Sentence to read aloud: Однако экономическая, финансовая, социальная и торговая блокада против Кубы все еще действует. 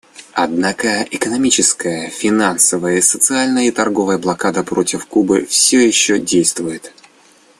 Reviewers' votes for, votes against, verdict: 2, 0, accepted